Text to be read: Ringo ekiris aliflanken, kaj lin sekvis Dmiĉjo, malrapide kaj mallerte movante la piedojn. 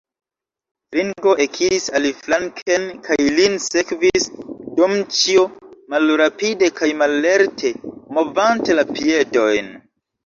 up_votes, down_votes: 1, 2